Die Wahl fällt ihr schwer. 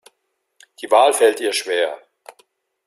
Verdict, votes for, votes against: accepted, 2, 0